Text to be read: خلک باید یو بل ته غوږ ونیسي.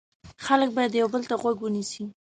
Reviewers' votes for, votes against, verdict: 2, 0, accepted